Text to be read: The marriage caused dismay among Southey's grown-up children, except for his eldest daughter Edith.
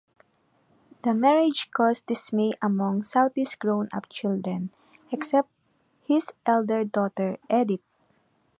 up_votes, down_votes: 0, 2